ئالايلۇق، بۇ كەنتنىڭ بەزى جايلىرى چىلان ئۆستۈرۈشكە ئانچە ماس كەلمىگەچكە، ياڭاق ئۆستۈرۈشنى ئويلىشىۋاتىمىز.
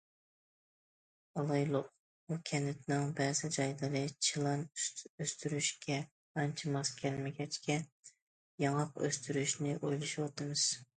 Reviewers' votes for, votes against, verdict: 1, 2, rejected